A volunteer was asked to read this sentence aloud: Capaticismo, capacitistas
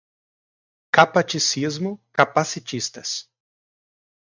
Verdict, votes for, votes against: accepted, 2, 0